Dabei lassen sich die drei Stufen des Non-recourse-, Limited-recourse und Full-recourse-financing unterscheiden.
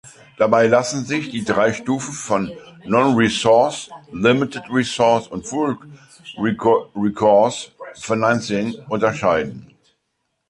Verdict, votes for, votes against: rejected, 0, 2